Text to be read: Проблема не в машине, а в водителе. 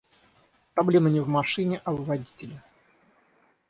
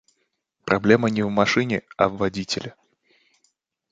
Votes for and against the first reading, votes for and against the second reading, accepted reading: 3, 3, 2, 0, second